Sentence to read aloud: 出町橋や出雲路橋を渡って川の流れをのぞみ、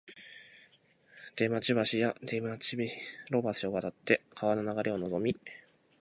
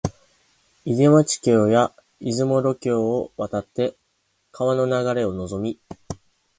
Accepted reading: second